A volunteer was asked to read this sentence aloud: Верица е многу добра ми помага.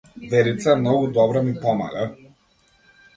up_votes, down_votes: 2, 0